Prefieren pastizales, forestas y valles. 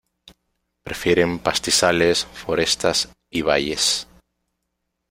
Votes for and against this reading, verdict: 1, 2, rejected